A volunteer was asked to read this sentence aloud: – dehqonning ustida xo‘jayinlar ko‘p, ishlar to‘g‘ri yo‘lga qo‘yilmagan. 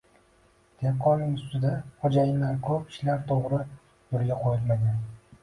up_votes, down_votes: 0, 2